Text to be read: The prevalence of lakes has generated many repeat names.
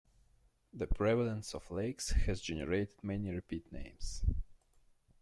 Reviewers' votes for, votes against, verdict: 2, 1, accepted